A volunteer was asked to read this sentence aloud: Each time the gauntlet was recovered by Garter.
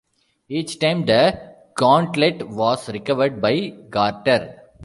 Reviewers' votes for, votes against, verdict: 0, 2, rejected